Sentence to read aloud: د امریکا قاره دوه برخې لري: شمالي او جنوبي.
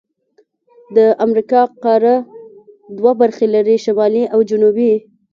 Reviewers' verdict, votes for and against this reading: rejected, 0, 2